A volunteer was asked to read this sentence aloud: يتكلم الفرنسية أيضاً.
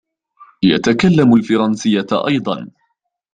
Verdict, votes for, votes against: accepted, 2, 0